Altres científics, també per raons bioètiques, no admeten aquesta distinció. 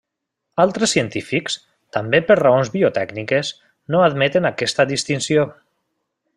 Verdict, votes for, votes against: rejected, 0, 2